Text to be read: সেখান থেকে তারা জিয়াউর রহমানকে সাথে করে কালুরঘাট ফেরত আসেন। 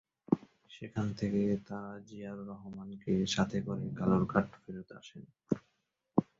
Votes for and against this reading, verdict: 2, 0, accepted